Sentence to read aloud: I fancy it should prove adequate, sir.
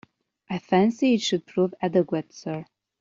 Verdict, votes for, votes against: accepted, 2, 0